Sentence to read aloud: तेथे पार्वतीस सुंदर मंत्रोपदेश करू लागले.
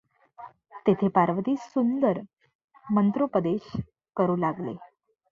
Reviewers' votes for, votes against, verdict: 2, 0, accepted